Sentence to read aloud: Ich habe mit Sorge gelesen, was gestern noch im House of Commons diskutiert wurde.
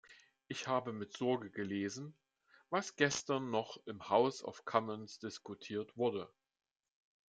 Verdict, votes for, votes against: accepted, 2, 0